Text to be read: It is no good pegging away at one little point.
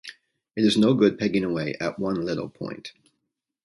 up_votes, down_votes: 2, 0